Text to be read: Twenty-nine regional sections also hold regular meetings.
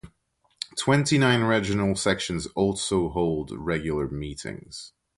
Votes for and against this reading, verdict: 1, 2, rejected